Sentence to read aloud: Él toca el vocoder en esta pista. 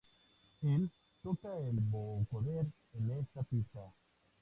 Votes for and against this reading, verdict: 2, 0, accepted